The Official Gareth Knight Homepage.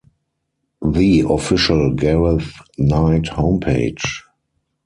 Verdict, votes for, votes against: accepted, 4, 2